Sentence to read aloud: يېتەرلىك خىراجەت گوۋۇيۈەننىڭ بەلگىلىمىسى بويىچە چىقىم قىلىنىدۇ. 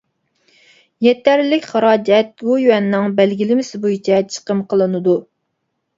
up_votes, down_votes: 1, 2